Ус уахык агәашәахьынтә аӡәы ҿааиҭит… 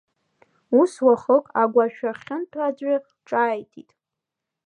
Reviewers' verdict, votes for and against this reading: accepted, 2, 0